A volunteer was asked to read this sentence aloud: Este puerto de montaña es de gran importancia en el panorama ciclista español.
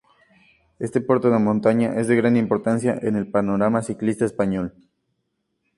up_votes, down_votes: 2, 0